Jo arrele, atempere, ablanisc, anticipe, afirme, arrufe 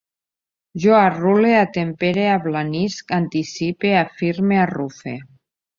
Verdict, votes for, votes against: accepted, 2, 0